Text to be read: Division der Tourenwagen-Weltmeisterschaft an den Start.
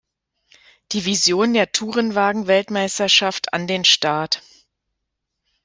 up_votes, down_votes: 2, 0